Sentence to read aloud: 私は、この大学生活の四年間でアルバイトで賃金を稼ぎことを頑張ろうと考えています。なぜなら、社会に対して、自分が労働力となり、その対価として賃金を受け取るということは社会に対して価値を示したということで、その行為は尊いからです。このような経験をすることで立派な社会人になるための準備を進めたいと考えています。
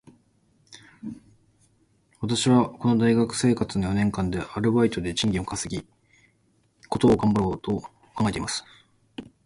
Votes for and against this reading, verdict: 1, 2, rejected